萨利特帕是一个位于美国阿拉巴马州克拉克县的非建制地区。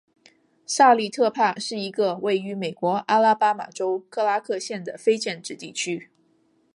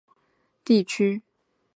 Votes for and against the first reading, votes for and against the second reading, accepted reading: 3, 0, 0, 2, first